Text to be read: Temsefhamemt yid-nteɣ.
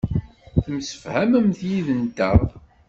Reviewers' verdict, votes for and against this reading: accepted, 2, 0